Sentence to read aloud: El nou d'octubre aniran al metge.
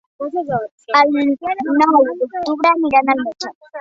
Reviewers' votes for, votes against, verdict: 2, 4, rejected